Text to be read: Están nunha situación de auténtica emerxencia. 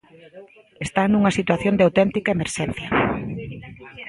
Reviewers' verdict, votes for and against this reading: accepted, 2, 1